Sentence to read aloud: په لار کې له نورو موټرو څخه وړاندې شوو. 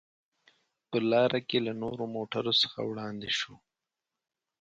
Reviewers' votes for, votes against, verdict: 4, 0, accepted